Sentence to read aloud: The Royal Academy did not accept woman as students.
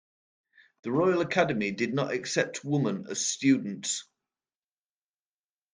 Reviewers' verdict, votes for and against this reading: accepted, 2, 1